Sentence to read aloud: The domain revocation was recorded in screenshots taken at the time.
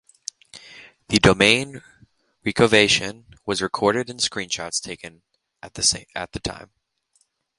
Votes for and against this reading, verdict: 1, 2, rejected